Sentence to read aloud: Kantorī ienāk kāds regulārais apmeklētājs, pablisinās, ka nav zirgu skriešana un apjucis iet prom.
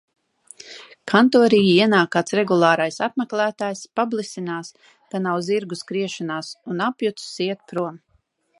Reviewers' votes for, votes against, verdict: 0, 2, rejected